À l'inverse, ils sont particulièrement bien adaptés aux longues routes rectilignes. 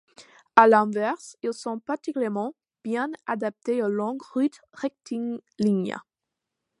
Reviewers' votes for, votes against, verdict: 2, 0, accepted